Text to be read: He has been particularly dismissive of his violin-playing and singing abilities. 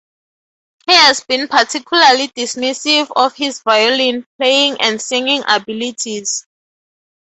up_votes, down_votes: 2, 0